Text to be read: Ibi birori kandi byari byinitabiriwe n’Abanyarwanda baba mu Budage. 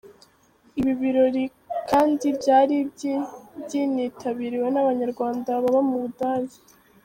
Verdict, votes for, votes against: rejected, 0, 2